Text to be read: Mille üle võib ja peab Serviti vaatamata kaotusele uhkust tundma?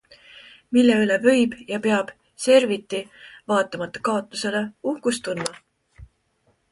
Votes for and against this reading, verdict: 3, 0, accepted